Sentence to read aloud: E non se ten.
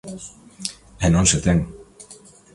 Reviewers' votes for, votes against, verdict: 2, 0, accepted